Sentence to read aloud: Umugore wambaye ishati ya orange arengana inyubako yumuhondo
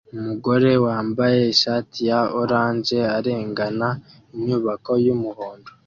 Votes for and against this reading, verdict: 2, 0, accepted